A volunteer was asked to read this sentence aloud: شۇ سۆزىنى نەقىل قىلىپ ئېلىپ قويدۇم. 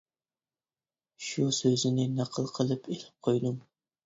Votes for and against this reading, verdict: 2, 0, accepted